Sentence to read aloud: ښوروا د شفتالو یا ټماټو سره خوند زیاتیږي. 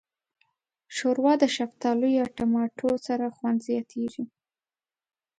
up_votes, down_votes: 2, 0